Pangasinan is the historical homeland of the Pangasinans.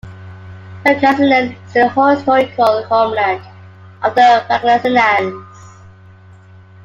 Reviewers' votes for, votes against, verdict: 2, 0, accepted